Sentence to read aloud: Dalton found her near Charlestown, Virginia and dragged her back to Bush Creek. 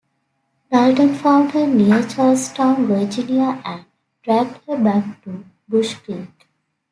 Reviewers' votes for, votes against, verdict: 2, 1, accepted